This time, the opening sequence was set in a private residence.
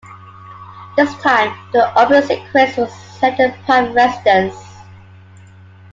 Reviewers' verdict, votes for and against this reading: rejected, 1, 3